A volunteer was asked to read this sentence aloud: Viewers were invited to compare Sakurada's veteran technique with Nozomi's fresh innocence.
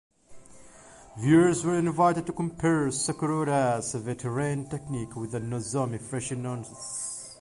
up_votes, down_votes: 0, 2